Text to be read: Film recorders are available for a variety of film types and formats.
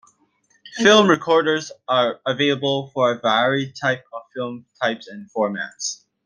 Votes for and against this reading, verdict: 0, 2, rejected